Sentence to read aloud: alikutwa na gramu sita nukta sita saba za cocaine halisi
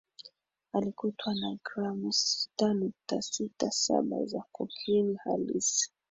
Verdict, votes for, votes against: rejected, 1, 2